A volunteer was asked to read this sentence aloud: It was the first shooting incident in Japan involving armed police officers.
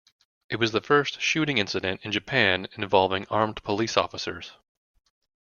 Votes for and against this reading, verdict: 2, 0, accepted